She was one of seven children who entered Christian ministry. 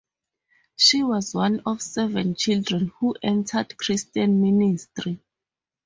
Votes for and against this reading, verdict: 4, 0, accepted